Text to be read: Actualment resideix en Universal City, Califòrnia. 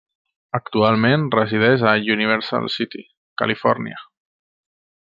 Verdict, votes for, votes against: rejected, 0, 2